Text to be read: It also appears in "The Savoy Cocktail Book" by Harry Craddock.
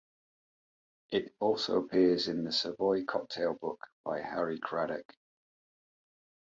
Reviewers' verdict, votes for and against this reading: accepted, 2, 0